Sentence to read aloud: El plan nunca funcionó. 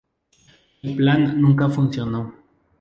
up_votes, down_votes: 4, 0